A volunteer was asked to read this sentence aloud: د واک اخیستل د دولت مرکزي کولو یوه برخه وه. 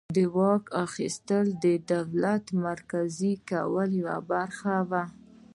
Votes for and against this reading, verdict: 2, 0, accepted